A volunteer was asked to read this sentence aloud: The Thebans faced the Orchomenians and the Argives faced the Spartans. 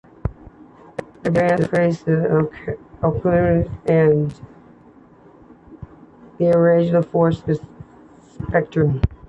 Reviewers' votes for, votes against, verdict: 1, 2, rejected